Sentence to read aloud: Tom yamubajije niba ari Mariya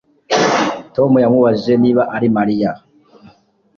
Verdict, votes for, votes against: accepted, 2, 0